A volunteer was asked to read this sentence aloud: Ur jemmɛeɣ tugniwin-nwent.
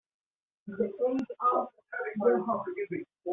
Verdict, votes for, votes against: rejected, 0, 2